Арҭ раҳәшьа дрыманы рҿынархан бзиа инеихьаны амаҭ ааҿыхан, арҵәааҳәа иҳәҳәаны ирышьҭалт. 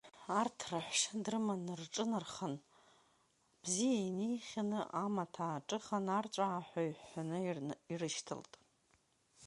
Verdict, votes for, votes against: rejected, 1, 2